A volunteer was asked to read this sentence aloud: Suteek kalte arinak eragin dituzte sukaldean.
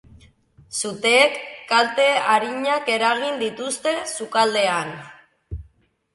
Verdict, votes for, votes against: accepted, 4, 0